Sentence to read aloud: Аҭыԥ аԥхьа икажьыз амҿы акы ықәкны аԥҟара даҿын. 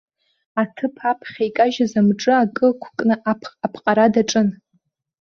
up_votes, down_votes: 1, 2